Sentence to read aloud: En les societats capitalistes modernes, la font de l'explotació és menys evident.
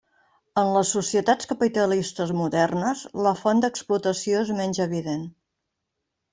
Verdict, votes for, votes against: rejected, 0, 2